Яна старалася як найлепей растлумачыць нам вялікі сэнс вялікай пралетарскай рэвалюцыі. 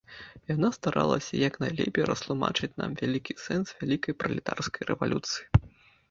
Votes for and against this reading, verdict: 2, 0, accepted